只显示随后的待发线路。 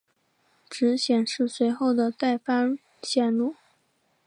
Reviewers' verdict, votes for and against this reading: accepted, 2, 0